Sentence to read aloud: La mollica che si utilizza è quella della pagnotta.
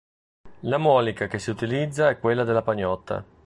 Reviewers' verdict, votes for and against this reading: rejected, 0, 2